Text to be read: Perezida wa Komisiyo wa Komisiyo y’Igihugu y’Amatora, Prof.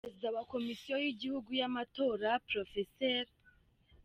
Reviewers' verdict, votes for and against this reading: rejected, 1, 2